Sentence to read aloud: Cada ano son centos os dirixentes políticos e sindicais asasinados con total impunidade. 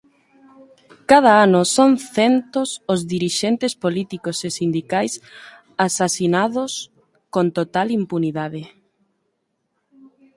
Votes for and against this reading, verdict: 3, 0, accepted